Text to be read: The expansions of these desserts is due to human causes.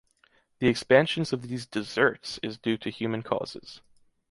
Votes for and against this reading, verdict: 2, 0, accepted